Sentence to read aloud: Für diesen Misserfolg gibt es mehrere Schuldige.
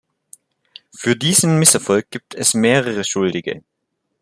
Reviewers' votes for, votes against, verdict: 2, 0, accepted